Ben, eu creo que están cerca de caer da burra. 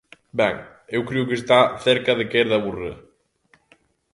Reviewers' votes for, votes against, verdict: 0, 2, rejected